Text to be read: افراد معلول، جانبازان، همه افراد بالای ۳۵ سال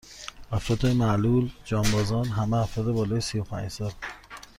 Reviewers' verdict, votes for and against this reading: rejected, 0, 2